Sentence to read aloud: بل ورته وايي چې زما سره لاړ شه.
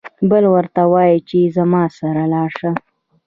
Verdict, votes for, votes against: accepted, 2, 0